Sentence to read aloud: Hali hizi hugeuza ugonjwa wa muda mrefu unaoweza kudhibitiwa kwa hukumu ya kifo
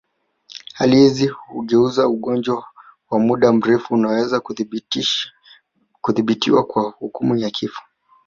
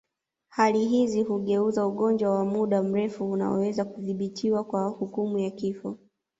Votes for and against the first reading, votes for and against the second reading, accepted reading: 0, 2, 2, 0, second